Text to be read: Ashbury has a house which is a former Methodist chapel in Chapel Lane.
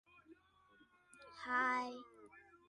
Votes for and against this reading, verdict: 0, 2, rejected